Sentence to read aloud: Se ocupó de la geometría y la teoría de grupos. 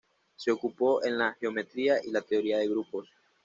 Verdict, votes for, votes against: rejected, 1, 2